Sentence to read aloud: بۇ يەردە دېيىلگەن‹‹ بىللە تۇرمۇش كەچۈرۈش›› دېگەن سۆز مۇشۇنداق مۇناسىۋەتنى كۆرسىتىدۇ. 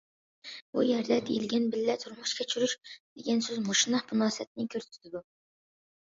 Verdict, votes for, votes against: accepted, 2, 0